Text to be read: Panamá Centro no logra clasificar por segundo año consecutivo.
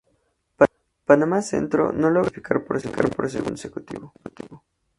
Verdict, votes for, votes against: rejected, 0, 2